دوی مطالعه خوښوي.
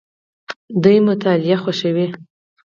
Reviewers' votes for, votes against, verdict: 4, 0, accepted